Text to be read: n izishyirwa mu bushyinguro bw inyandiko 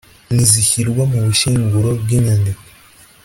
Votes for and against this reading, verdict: 2, 0, accepted